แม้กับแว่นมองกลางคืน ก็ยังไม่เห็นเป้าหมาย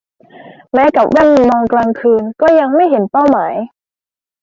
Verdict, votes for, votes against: rejected, 1, 2